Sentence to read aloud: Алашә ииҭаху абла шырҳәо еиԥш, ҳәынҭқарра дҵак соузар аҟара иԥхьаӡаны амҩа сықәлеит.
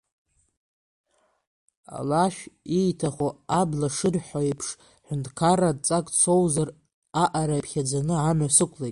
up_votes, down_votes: 1, 2